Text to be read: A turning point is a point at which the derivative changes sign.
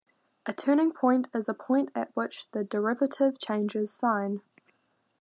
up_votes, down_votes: 2, 0